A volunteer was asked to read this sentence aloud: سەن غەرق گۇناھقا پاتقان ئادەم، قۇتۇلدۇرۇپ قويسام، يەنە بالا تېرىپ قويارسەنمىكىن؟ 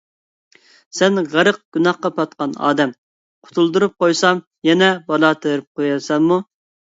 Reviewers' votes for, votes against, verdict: 1, 2, rejected